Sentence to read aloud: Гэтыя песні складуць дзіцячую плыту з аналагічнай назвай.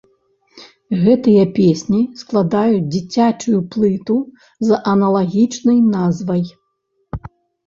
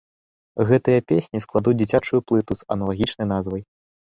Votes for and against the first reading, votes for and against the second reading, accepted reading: 1, 2, 2, 0, second